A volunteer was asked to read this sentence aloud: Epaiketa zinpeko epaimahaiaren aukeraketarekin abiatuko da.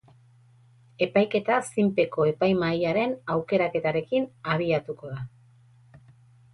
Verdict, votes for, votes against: accepted, 6, 0